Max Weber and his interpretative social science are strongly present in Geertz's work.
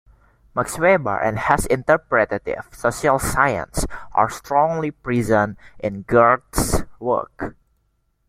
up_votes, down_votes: 1, 2